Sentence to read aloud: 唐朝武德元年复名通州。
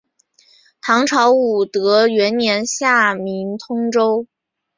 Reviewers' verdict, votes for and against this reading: accepted, 2, 0